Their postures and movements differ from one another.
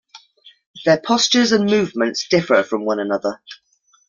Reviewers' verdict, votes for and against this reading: accepted, 2, 0